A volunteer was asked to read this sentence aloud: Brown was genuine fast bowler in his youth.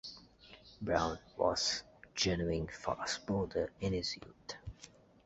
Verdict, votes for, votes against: rejected, 1, 2